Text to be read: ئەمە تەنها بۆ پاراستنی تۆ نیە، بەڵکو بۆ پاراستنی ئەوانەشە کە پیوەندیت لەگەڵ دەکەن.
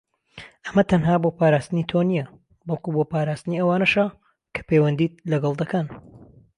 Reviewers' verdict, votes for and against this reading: accepted, 2, 0